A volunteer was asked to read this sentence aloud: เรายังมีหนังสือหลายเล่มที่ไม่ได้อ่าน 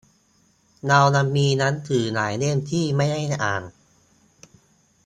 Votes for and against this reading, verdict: 0, 2, rejected